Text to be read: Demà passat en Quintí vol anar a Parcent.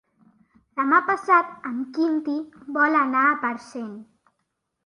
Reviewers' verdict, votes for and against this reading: accepted, 2, 0